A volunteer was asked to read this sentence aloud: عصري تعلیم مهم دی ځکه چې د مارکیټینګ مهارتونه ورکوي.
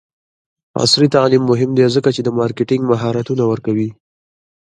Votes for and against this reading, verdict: 1, 2, rejected